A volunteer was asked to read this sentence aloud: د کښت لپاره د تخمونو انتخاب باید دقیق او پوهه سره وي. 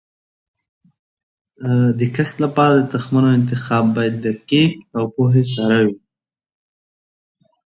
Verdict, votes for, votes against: accepted, 2, 0